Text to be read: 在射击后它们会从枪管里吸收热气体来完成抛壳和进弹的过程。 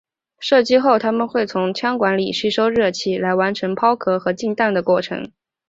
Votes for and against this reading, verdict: 1, 2, rejected